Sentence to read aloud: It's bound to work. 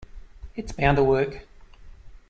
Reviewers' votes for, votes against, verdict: 2, 0, accepted